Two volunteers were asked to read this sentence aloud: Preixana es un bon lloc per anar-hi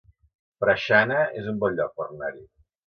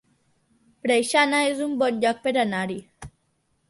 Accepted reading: second